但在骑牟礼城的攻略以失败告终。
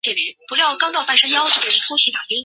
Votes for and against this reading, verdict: 0, 2, rejected